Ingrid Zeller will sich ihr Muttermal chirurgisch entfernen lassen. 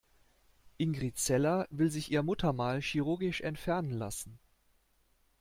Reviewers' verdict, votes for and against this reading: accepted, 2, 0